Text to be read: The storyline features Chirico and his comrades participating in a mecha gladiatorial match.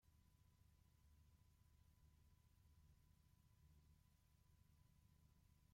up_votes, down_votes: 0, 2